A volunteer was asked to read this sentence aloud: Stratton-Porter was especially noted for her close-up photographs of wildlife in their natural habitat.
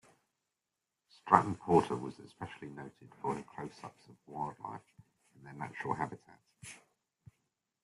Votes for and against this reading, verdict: 2, 0, accepted